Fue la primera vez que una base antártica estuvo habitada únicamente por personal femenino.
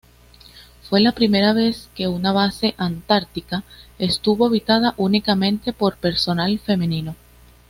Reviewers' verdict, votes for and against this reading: accepted, 2, 0